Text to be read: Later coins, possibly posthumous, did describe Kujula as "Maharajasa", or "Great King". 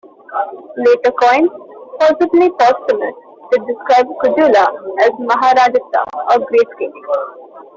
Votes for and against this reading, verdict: 1, 2, rejected